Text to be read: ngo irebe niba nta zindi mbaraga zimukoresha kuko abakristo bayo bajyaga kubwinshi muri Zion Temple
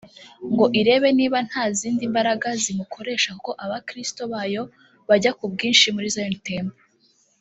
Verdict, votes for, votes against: rejected, 0, 2